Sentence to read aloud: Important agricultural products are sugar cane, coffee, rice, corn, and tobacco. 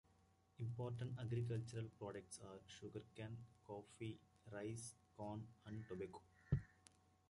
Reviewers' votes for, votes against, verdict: 2, 0, accepted